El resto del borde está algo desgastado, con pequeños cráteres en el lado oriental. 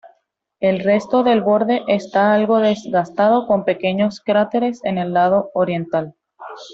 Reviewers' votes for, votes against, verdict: 2, 0, accepted